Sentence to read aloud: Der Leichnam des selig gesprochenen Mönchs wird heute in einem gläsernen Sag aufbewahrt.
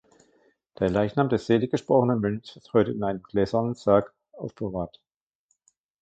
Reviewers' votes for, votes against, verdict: 1, 2, rejected